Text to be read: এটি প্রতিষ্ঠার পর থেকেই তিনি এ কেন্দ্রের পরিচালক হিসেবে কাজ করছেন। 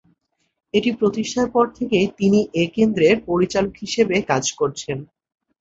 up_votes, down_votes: 2, 0